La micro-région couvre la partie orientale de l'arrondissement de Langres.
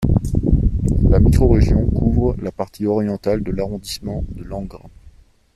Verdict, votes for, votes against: rejected, 0, 2